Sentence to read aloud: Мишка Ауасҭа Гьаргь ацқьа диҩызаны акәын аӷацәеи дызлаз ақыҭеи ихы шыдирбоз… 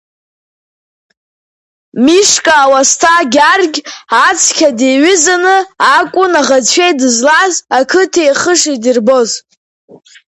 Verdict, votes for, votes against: accepted, 2, 1